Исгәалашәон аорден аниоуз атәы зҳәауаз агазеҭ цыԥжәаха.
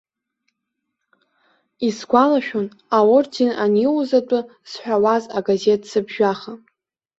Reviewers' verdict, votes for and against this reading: accepted, 2, 0